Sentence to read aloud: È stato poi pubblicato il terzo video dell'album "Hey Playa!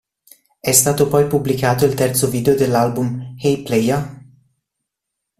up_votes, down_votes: 1, 2